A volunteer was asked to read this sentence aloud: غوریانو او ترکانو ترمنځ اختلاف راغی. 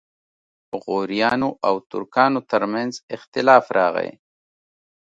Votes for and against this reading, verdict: 2, 0, accepted